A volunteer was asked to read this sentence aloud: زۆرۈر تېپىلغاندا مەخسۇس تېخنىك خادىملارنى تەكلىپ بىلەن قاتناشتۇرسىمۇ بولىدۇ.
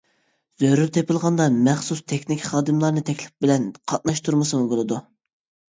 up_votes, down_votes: 1, 2